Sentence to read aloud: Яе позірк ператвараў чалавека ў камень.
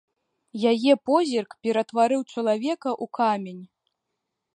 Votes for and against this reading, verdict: 0, 2, rejected